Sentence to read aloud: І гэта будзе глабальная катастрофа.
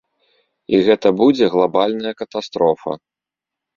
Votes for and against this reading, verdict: 2, 0, accepted